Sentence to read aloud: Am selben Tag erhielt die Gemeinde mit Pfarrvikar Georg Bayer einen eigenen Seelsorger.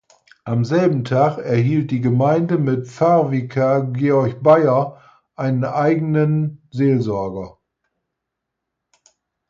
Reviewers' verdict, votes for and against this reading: accepted, 4, 0